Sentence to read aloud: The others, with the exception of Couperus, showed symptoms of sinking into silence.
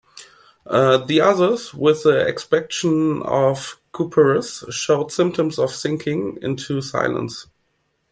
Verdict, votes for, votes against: rejected, 1, 2